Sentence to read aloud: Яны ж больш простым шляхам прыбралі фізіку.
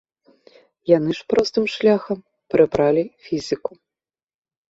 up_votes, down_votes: 1, 2